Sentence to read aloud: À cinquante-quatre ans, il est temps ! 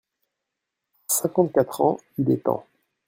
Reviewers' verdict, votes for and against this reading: rejected, 0, 2